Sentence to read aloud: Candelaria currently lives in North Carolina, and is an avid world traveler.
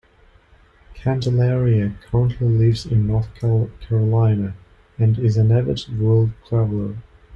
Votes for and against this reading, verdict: 2, 1, accepted